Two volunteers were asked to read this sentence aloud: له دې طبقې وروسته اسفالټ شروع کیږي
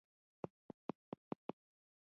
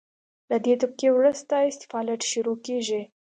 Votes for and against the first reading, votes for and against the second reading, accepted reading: 1, 2, 2, 0, second